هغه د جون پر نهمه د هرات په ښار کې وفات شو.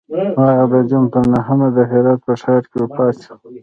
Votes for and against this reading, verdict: 2, 1, accepted